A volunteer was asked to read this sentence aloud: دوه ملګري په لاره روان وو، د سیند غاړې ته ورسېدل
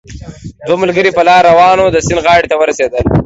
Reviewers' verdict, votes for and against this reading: accepted, 2, 0